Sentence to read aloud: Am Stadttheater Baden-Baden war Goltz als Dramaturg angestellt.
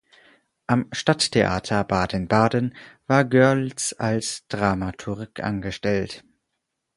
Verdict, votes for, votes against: rejected, 2, 4